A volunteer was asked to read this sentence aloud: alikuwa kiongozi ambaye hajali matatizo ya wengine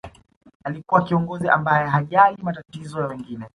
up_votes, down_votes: 2, 0